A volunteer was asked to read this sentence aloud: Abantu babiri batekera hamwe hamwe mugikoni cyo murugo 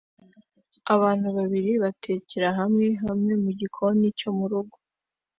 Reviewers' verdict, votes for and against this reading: accepted, 2, 0